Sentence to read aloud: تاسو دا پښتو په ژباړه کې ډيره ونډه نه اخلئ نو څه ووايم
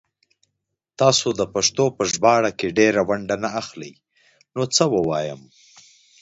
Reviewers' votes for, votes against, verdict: 2, 0, accepted